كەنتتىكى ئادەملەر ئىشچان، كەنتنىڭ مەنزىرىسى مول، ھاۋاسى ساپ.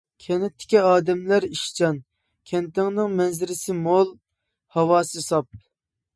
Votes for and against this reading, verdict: 1, 2, rejected